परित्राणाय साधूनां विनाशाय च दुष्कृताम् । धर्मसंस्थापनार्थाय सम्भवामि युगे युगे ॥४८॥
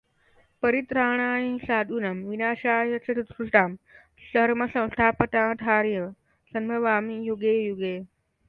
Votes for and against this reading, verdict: 0, 2, rejected